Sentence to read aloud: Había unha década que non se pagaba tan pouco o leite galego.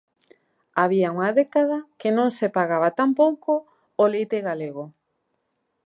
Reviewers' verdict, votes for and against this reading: accepted, 2, 0